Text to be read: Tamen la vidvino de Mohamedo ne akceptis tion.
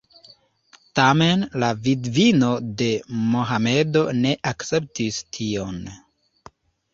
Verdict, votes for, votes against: accepted, 2, 0